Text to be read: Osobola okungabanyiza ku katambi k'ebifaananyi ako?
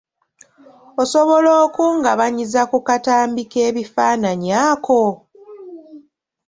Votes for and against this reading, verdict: 2, 0, accepted